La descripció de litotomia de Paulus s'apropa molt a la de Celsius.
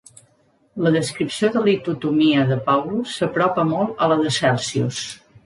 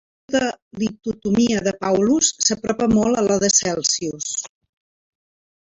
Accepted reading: first